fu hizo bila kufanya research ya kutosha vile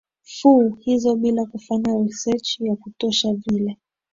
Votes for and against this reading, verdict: 2, 0, accepted